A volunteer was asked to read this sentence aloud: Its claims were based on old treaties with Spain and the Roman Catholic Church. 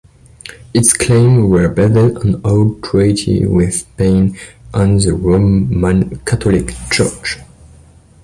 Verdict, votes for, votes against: accepted, 2, 1